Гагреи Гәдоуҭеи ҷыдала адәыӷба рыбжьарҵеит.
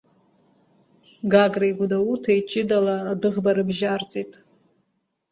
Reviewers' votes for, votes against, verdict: 2, 1, accepted